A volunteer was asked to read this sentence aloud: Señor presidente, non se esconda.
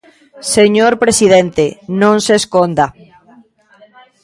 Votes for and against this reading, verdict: 1, 2, rejected